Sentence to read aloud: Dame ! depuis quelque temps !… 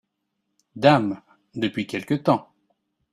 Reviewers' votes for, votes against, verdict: 2, 0, accepted